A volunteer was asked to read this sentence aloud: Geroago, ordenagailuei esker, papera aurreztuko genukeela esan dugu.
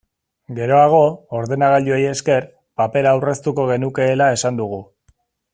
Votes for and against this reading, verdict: 3, 0, accepted